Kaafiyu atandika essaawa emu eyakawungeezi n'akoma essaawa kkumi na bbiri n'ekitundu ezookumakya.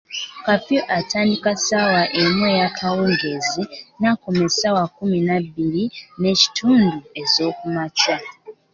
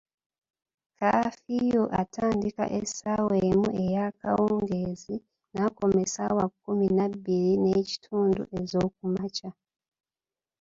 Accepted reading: first